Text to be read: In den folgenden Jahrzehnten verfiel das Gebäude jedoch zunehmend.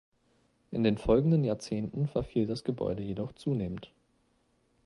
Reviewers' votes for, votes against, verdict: 2, 0, accepted